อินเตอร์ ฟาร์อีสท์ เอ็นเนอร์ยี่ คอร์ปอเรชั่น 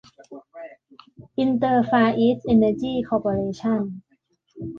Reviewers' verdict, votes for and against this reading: rejected, 0, 2